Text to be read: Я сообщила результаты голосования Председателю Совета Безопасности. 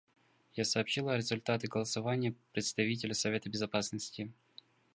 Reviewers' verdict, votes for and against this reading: rejected, 0, 2